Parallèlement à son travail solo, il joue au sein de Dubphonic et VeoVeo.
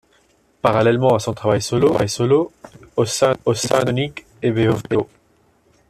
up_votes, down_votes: 0, 2